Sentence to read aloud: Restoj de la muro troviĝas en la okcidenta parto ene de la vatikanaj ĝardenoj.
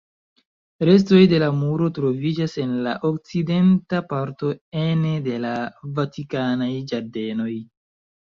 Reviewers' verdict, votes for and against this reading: rejected, 1, 2